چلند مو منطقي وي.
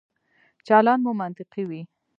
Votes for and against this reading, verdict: 2, 1, accepted